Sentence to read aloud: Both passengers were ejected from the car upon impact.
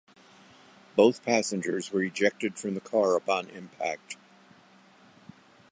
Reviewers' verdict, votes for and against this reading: accepted, 2, 0